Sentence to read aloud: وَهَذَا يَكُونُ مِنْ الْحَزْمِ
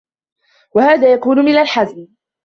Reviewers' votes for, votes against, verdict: 2, 1, accepted